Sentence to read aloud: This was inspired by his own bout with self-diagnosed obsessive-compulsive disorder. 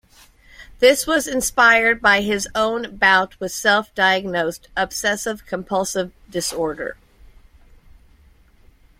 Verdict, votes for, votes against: accepted, 2, 0